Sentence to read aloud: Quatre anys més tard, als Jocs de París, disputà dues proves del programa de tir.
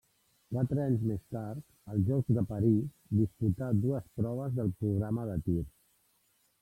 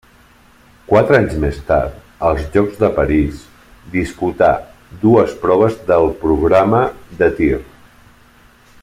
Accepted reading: second